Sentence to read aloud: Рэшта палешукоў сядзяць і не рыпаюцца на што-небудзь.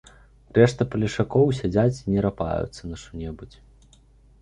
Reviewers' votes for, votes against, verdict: 1, 2, rejected